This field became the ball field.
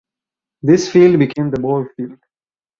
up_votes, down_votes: 2, 2